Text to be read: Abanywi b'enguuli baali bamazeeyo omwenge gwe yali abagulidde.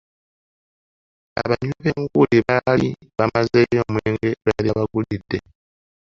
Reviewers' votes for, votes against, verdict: 0, 2, rejected